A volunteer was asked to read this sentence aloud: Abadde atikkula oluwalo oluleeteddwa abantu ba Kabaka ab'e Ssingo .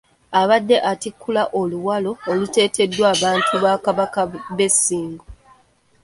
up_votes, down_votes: 0, 2